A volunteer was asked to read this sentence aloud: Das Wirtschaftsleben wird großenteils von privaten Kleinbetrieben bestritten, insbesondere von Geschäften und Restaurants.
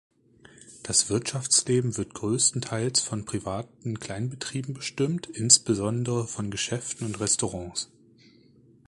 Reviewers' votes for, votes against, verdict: 0, 2, rejected